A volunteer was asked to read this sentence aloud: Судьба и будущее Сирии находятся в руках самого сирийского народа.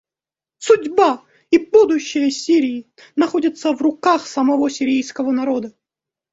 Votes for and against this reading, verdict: 2, 0, accepted